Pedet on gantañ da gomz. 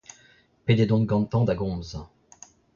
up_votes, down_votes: 1, 2